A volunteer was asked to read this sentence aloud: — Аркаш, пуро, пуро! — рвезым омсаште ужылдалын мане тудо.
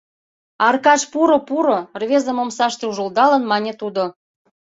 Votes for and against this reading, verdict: 2, 0, accepted